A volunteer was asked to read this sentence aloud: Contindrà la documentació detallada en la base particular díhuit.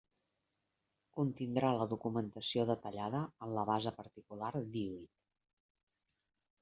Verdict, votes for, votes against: rejected, 1, 2